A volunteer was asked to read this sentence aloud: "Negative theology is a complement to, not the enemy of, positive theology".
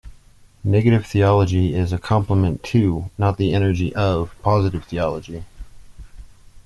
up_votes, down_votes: 0, 2